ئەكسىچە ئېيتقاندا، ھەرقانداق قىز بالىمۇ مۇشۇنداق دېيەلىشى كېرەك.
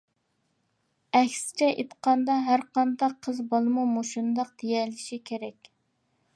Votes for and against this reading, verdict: 3, 0, accepted